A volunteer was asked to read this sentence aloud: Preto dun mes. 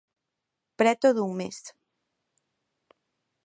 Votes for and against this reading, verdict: 2, 0, accepted